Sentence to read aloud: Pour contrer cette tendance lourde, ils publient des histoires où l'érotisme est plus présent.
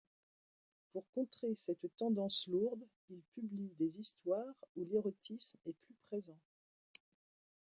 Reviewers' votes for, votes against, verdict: 0, 2, rejected